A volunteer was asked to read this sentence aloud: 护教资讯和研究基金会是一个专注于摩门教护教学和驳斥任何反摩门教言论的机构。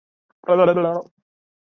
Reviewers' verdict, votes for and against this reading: rejected, 0, 4